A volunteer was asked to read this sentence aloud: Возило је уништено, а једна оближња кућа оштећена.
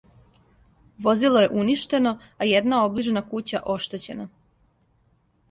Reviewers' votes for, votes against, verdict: 2, 0, accepted